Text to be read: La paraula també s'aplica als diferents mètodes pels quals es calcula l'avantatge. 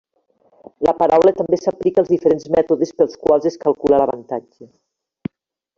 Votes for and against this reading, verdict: 3, 0, accepted